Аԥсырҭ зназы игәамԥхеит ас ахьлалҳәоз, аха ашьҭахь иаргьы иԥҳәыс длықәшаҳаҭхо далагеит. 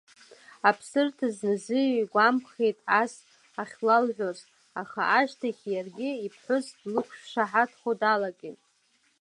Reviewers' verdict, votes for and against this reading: accepted, 2, 1